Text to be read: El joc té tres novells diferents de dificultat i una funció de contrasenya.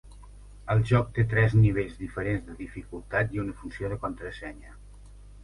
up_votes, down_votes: 2, 1